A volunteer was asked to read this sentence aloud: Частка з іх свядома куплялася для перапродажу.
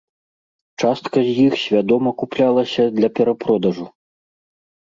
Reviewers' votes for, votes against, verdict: 2, 0, accepted